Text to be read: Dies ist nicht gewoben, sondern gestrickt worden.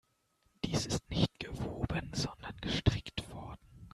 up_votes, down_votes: 2, 0